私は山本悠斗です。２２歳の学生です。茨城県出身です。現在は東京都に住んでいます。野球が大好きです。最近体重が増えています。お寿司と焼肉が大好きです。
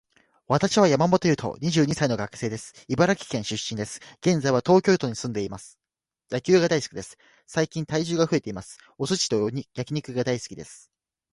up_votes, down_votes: 0, 2